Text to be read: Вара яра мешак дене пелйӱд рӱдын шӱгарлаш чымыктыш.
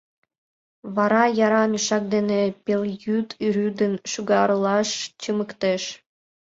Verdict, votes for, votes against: accepted, 2, 0